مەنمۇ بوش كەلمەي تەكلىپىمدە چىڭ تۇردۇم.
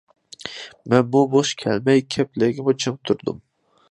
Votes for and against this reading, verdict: 0, 2, rejected